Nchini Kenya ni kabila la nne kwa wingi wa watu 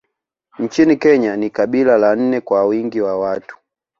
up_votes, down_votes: 2, 0